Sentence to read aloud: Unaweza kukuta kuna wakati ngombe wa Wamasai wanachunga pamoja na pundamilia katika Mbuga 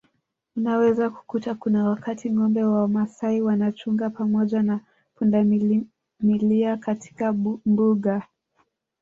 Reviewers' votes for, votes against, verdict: 2, 3, rejected